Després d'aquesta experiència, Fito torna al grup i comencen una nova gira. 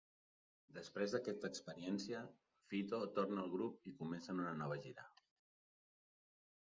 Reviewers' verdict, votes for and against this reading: rejected, 0, 6